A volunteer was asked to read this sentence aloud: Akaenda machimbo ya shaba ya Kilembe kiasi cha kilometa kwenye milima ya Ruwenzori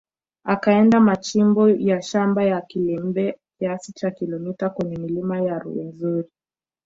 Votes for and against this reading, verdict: 1, 2, rejected